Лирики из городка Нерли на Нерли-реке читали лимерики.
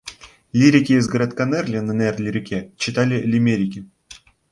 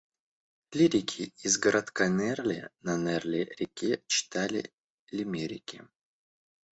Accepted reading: first